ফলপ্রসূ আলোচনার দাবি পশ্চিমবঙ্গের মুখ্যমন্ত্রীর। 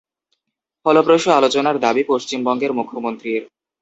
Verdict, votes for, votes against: accepted, 2, 0